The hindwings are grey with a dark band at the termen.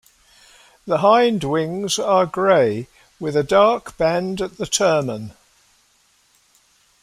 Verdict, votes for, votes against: accepted, 2, 0